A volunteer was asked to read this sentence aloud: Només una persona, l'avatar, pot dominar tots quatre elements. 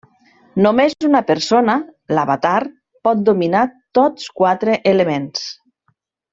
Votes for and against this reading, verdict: 0, 2, rejected